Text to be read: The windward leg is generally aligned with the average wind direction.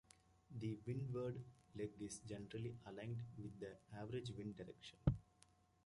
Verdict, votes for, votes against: accepted, 2, 1